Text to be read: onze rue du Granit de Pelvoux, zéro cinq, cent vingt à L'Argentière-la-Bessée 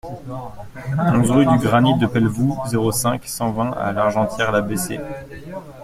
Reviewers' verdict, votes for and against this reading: accepted, 2, 0